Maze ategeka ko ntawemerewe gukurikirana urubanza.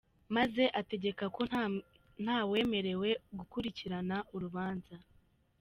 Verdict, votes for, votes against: rejected, 1, 2